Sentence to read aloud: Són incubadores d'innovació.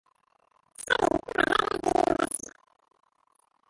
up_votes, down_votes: 0, 3